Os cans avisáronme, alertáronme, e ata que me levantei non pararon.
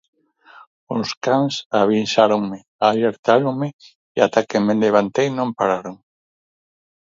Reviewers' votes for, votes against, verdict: 2, 4, rejected